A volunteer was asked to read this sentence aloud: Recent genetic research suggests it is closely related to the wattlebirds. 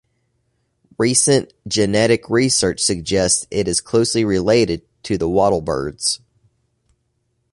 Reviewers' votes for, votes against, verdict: 2, 0, accepted